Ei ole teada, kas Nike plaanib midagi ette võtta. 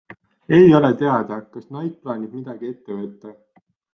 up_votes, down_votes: 2, 0